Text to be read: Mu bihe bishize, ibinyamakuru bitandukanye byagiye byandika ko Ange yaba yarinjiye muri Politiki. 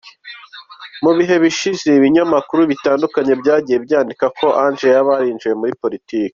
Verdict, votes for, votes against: accepted, 2, 0